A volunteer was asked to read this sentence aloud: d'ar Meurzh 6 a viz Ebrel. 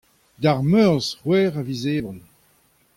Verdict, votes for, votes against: rejected, 0, 2